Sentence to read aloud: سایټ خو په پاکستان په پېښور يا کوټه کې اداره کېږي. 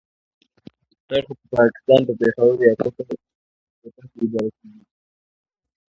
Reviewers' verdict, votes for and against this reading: accepted, 2, 0